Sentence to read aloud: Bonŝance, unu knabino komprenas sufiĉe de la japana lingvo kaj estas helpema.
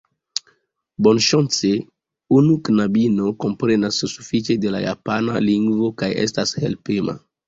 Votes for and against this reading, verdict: 2, 0, accepted